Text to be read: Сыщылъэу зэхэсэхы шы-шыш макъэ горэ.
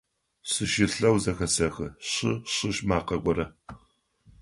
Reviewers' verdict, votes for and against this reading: accepted, 3, 0